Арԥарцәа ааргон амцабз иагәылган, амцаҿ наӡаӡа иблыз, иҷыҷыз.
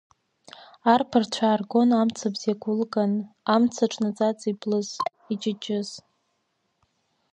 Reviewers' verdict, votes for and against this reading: rejected, 1, 2